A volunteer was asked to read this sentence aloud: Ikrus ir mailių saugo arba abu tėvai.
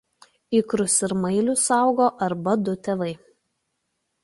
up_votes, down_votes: 0, 2